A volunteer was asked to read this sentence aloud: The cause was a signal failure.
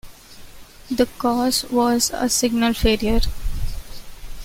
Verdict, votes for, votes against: accepted, 2, 0